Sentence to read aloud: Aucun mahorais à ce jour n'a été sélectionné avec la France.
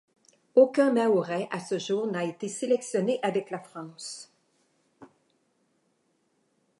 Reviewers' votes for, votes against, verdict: 2, 0, accepted